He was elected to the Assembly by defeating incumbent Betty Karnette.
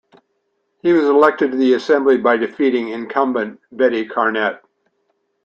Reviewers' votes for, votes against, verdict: 2, 1, accepted